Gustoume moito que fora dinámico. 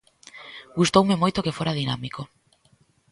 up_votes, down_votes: 0, 2